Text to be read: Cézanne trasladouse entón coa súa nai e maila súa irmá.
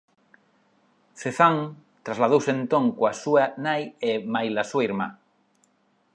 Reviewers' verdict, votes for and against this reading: rejected, 1, 2